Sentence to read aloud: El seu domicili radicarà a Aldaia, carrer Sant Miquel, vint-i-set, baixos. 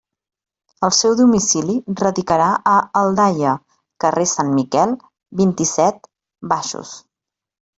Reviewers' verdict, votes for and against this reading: accepted, 2, 0